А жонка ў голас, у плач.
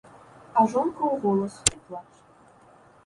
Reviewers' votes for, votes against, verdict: 1, 2, rejected